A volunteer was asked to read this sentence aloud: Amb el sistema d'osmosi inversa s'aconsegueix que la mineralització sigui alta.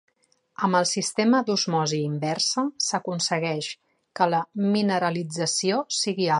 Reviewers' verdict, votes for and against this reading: rejected, 1, 2